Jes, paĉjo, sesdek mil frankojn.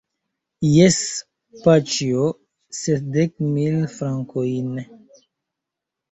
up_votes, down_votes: 0, 2